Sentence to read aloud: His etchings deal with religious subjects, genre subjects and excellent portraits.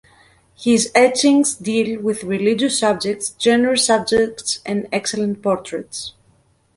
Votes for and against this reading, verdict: 1, 2, rejected